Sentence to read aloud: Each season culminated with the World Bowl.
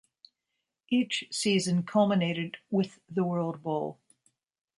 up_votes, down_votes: 2, 0